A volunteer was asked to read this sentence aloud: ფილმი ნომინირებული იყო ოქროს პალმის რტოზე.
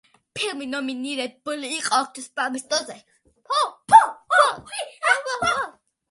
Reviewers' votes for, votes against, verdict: 0, 2, rejected